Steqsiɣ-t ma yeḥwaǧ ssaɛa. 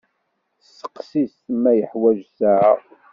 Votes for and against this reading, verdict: 2, 0, accepted